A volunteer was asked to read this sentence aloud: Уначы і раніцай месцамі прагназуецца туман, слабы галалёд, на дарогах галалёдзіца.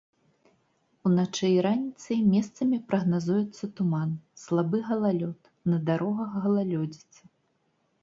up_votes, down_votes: 2, 0